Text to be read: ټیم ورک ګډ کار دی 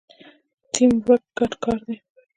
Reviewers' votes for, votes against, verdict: 2, 0, accepted